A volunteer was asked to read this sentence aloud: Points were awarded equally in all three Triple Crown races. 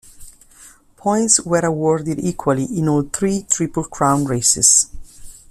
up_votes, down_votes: 2, 0